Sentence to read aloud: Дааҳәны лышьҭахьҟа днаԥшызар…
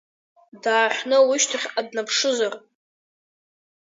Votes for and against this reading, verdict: 1, 2, rejected